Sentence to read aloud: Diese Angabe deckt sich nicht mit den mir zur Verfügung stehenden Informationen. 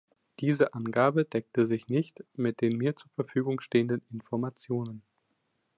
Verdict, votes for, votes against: rejected, 0, 2